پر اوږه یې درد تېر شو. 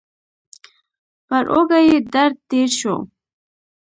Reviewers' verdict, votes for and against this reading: rejected, 0, 2